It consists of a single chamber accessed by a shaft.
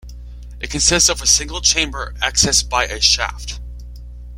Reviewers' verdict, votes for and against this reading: accepted, 2, 0